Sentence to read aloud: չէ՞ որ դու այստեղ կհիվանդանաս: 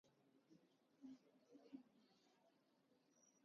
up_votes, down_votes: 0, 2